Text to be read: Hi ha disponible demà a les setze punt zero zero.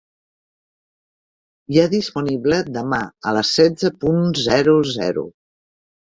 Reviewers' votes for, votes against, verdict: 2, 0, accepted